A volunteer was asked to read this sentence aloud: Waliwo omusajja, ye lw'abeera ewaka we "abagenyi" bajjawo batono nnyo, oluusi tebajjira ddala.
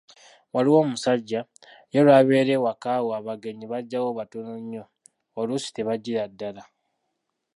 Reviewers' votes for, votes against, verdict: 2, 0, accepted